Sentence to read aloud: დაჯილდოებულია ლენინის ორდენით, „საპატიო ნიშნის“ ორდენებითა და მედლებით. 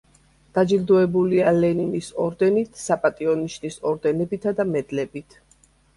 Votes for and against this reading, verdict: 2, 0, accepted